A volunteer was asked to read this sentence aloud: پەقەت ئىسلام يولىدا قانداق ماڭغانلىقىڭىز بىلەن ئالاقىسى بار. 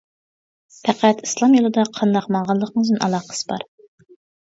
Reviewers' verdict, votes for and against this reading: rejected, 0, 2